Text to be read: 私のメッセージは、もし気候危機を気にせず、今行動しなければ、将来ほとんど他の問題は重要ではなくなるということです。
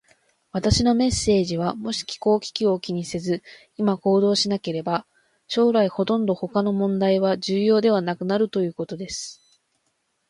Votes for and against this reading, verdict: 2, 0, accepted